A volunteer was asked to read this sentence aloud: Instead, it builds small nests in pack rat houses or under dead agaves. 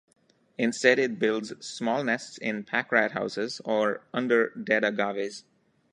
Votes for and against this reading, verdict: 2, 0, accepted